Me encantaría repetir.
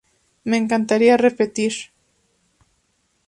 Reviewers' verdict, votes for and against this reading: accepted, 2, 0